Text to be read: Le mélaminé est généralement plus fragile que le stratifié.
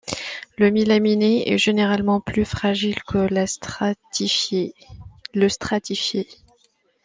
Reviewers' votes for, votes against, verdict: 0, 2, rejected